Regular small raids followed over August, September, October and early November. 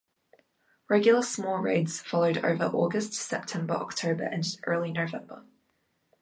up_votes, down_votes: 2, 0